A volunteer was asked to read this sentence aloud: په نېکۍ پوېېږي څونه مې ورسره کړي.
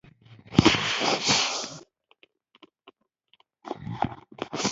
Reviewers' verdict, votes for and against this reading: rejected, 1, 2